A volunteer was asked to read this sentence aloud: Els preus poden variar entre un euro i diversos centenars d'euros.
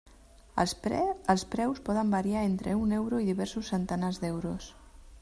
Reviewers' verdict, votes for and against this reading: rejected, 1, 2